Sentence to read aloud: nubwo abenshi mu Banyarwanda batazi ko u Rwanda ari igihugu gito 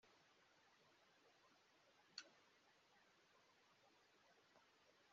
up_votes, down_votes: 1, 2